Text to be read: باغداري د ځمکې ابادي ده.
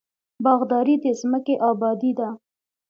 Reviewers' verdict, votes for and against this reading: accepted, 2, 0